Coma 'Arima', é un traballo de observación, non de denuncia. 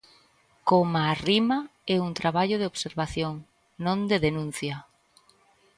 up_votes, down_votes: 0, 2